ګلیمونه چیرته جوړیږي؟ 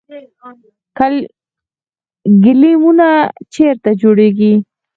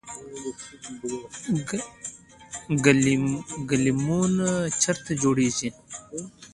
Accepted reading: second